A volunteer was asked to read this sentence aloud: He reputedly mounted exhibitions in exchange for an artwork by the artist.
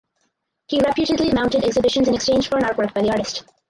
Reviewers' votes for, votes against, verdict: 0, 4, rejected